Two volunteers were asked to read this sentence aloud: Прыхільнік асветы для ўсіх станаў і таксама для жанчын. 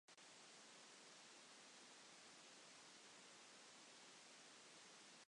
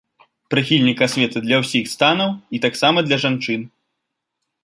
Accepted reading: second